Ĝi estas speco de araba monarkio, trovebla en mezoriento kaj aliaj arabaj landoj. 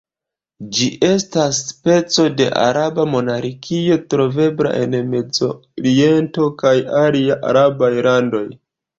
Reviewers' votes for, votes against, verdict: 2, 0, accepted